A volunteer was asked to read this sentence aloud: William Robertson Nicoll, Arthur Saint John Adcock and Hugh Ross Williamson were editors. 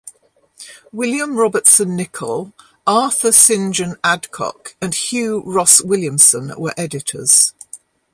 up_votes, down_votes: 2, 0